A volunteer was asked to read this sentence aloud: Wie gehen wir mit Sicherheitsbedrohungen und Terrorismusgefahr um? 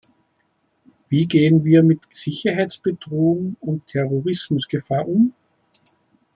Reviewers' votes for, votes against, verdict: 2, 0, accepted